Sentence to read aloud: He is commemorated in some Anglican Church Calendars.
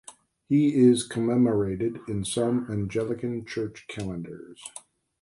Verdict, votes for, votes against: rejected, 1, 2